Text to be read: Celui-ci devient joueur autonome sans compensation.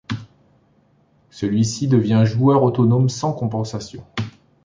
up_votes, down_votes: 2, 0